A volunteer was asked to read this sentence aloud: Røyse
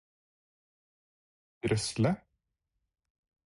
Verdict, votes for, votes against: rejected, 0, 4